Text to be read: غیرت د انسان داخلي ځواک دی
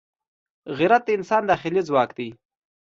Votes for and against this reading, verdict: 2, 0, accepted